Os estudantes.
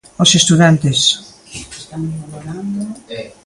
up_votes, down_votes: 0, 2